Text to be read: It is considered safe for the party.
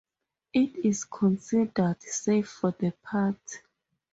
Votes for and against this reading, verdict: 0, 2, rejected